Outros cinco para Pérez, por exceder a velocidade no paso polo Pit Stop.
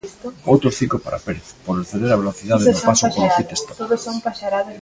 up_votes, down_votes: 0, 2